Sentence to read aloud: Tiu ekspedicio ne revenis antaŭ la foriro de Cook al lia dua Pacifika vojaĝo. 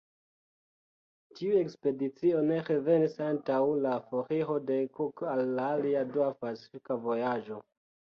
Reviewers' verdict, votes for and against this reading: rejected, 0, 2